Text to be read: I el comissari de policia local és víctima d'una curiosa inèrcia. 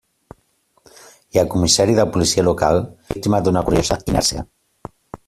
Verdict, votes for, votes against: rejected, 0, 2